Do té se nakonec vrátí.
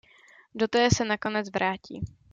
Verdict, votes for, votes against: accepted, 2, 0